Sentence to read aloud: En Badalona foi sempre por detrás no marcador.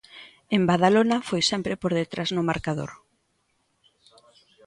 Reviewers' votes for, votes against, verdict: 2, 0, accepted